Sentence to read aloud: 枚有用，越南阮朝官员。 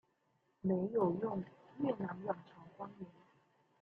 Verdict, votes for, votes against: rejected, 0, 2